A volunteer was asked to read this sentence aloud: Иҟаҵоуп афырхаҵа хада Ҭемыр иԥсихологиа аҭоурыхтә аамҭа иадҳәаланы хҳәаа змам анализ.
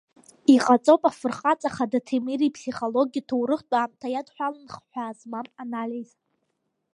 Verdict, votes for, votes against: rejected, 1, 2